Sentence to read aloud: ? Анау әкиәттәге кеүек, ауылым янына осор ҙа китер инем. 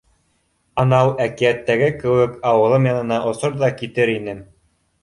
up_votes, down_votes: 2, 0